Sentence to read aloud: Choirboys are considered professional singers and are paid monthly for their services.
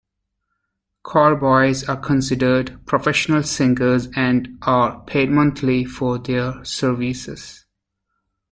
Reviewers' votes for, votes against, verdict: 1, 2, rejected